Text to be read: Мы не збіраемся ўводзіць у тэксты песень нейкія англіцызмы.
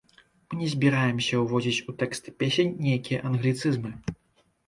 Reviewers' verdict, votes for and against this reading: rejected, 0, 2